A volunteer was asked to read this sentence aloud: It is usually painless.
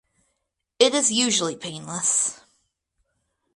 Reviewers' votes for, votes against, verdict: 2, 0, accepted